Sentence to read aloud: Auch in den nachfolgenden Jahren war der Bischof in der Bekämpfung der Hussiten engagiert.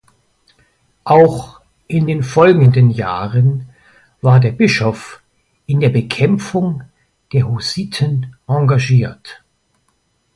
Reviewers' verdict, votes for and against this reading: rejected, 0, 2